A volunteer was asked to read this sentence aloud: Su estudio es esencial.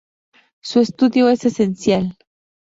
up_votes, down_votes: 0, 2